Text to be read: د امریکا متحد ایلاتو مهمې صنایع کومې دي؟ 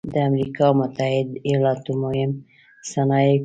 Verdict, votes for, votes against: rejected, 0, 2